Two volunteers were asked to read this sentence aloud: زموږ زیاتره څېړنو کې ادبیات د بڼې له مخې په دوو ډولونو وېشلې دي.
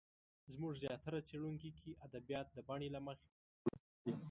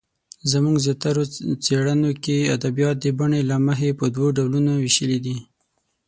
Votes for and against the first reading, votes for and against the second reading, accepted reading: 1, 2, 18, 0, second